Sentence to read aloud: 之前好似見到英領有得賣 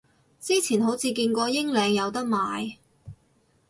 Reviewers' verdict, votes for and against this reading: rejected, 0, 4